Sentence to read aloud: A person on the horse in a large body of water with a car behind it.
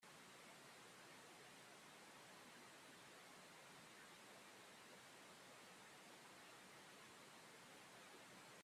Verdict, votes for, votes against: rejected, 0, 4